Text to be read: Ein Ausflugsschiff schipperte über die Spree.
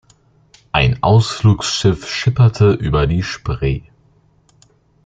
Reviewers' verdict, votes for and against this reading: accepted, 2, 0